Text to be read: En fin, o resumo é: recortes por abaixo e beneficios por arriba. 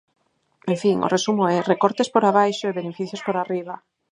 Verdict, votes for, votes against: rejected, 2, 4